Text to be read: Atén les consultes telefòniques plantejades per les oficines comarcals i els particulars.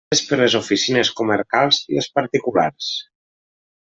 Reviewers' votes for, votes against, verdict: 0, 2, rejected